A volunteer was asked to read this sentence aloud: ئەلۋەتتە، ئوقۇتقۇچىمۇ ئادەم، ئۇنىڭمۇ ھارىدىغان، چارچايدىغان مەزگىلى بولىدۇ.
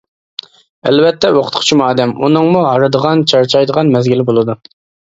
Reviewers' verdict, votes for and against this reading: accepted, 2, 0